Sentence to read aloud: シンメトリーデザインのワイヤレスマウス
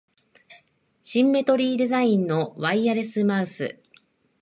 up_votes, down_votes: 2, 1